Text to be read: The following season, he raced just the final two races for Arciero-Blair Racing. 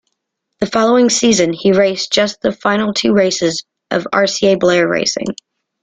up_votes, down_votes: 0, 2